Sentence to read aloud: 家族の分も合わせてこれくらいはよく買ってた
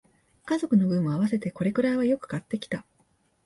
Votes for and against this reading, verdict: 0, 2, rejected